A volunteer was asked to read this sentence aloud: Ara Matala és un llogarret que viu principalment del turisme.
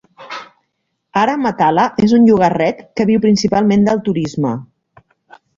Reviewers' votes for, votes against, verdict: 1, 2, rejected